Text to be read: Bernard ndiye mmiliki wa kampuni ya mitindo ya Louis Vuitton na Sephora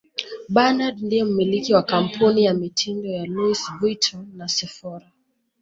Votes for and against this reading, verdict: 2, 0, accepted